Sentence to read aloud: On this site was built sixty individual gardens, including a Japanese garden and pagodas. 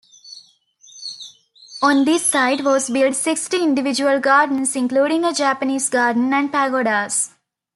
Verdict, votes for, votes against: accepted, 2, 0